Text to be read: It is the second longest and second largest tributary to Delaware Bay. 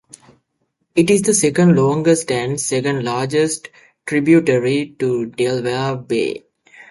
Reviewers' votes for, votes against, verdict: 1, 2, rejected